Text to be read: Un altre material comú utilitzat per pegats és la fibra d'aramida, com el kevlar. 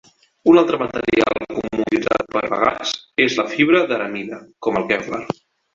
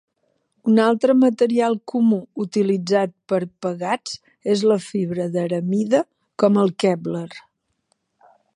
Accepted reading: second